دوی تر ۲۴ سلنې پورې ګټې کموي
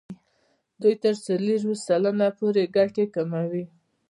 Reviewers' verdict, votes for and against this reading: rejected, 0, 2